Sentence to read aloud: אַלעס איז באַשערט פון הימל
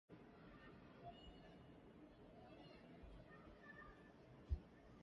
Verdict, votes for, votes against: rejected, 0, 2